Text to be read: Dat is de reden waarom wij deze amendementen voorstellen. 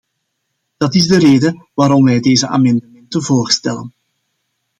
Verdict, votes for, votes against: rejected, 1, 2